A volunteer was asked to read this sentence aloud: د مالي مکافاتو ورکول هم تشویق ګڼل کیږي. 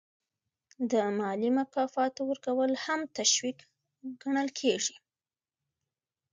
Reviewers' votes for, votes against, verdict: 2, 1, accepted